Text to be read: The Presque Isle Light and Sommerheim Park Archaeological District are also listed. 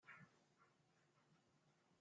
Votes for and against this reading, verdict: 0, 2, rejected